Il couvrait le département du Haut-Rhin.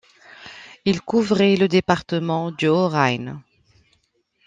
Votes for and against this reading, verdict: 1, 2, rejected